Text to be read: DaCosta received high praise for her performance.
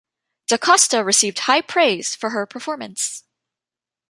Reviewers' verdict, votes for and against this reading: rejected, 1, 2